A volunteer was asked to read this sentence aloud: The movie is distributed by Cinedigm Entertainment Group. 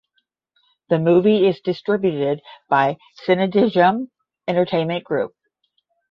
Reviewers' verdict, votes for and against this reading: accepted, 10, 0